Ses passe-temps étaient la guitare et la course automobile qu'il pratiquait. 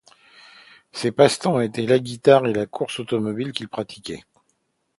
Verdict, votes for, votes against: accepted, 2, 0